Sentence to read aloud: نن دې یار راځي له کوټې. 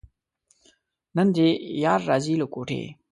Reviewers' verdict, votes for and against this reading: accepted, 2, 0